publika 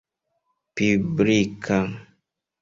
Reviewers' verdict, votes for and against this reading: rejected, 0, 2